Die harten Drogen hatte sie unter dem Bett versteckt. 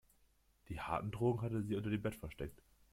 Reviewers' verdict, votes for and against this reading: accepted, 2, 0